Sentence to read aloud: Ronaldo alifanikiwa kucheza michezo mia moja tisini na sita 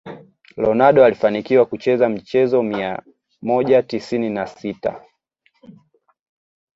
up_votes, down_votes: 2, 0